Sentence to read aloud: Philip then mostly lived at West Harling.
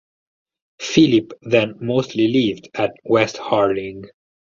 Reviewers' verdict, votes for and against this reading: rejected, 2, 2